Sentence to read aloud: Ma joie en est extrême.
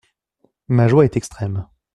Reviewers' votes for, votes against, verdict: 1, 2, rejected